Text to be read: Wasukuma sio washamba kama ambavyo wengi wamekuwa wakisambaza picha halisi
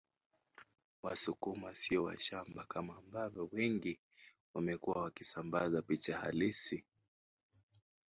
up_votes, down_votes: 0, 2